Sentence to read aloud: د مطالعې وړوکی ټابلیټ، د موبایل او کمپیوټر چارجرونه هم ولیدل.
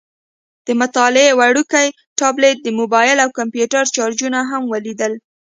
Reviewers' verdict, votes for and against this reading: accepted, 2, 0